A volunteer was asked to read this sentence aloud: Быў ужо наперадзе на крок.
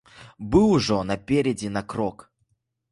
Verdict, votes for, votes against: rejected, 1, 2